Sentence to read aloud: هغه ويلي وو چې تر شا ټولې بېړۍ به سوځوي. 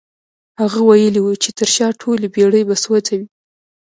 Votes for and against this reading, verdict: 0, 2, rejected